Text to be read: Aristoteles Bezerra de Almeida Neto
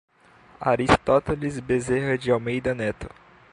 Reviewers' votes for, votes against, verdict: 2, 0, accepted